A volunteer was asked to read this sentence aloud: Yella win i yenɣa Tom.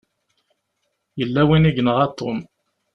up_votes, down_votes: 2, 0